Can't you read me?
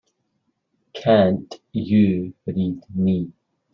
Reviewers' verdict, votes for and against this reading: rejected, 1, 2